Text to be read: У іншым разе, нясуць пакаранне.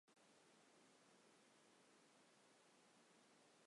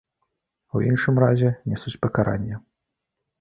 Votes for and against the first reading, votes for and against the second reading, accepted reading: 0, 3, 2, 0, second